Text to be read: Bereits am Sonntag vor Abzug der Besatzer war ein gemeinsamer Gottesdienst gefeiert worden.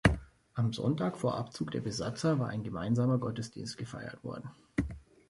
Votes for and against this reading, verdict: 0, 2, rejected